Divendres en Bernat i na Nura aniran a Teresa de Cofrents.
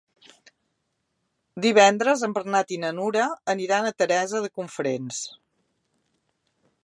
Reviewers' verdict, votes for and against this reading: rejected, 2, 3